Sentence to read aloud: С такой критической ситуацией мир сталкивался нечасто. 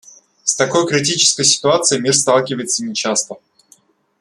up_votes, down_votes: 0, 2